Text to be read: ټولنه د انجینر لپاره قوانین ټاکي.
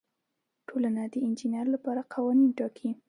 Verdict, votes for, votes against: accepted, 2, 0